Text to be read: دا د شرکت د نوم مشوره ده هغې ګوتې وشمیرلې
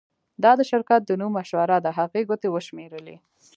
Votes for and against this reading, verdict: 2, 1, accepted